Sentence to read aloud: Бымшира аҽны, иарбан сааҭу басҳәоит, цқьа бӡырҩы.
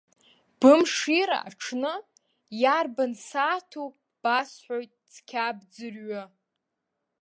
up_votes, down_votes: 1, 2